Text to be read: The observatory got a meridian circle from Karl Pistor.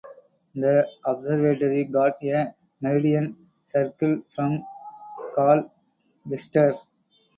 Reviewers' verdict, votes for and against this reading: rejected, 0, 2